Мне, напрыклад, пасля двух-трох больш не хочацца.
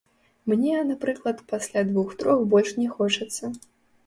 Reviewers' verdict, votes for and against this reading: rejected, 0, 2